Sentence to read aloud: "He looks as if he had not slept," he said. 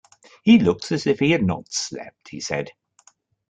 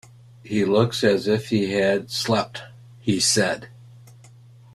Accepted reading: first